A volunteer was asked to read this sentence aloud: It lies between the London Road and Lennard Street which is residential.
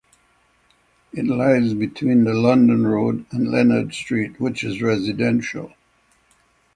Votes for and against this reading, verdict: 6, 0, accepted